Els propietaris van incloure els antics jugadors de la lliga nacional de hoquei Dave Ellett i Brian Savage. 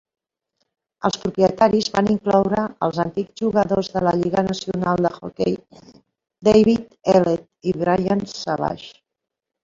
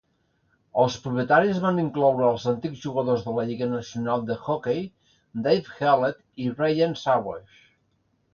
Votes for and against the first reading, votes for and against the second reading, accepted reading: 2, 1, 0, 2, first